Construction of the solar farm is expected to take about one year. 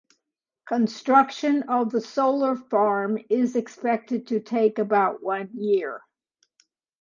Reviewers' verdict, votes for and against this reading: accepted, 2, 0